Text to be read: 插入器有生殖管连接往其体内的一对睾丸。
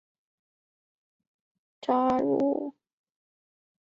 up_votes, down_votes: 0, 3